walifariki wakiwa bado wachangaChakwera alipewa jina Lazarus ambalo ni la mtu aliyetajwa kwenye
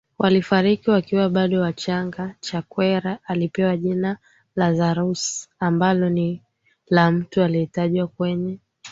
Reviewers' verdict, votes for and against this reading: accepted, 8, 2